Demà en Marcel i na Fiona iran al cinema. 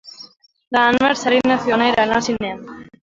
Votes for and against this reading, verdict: 0, 3, rejected